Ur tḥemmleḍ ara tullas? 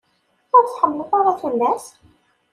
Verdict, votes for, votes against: rejected, 1, 2